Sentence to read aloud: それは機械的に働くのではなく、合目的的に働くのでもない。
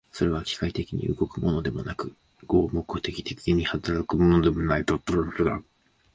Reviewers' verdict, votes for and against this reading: rejected, 0, 3